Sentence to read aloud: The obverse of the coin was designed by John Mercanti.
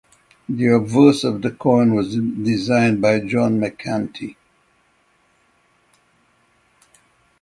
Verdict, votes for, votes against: rejected, 3, 3